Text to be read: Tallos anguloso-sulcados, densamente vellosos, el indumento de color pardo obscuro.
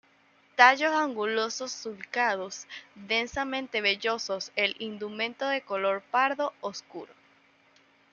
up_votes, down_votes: 1, 2